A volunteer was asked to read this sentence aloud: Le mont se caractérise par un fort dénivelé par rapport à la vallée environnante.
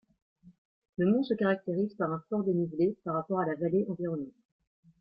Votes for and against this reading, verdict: 2, 0, accepted